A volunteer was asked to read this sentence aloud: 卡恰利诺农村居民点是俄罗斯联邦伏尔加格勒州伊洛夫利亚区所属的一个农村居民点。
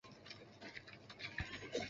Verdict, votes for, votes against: rejected, 1, 3